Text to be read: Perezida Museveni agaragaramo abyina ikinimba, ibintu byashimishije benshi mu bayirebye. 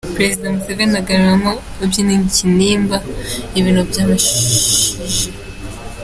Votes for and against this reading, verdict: 0, 2, rejected